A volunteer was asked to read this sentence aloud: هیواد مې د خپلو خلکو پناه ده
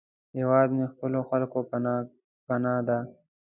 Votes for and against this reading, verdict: 2, 0, accepted